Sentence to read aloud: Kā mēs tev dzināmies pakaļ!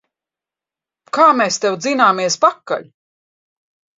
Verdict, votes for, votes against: accepted, 2, 0